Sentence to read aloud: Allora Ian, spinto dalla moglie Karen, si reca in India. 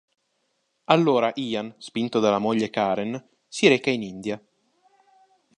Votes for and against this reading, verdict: 2, 0, accepted